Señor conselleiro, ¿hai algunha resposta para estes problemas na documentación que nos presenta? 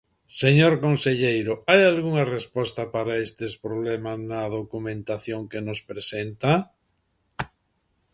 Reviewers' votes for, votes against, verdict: 2, 0, accepted